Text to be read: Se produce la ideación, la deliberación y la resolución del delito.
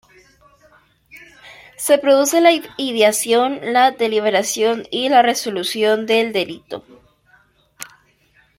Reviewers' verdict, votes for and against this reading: rejected, 0, 2